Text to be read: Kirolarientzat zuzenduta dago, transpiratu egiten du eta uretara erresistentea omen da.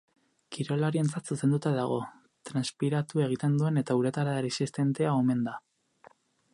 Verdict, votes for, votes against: rejected, 2, 4